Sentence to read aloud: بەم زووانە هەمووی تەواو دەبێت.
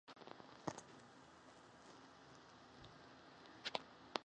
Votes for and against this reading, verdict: 0, 2, rejected